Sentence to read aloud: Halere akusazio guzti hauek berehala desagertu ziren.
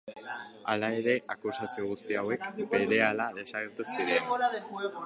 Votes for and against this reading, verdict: 0, 3, rejected